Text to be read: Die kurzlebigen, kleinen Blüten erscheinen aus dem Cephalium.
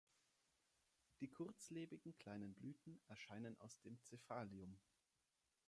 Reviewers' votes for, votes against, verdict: 2, 0, accepted